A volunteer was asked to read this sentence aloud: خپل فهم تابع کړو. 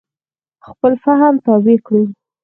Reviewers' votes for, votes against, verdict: 2, 4, rejected